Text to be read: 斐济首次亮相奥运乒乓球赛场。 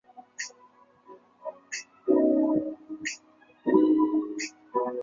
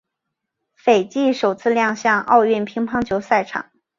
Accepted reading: second